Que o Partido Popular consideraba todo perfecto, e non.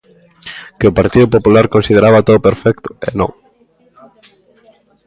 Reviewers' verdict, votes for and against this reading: accepted, 2, 0